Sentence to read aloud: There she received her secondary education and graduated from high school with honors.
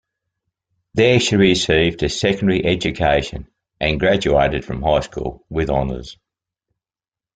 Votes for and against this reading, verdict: 2, 0, accepted